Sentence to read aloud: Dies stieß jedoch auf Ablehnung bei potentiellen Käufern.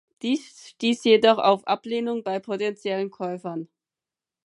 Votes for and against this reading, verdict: 4, 0, accepted